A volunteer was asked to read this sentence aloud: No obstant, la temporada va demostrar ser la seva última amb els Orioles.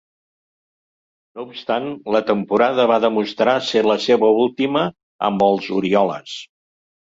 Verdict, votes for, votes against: accepted, 2, 0